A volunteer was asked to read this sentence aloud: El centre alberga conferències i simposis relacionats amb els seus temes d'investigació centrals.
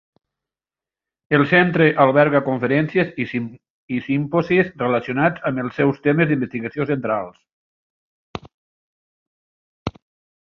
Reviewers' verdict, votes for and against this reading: rejected, 0, 2